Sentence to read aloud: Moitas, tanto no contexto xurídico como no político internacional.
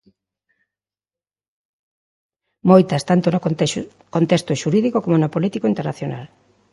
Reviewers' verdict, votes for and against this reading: rejected, 0, 2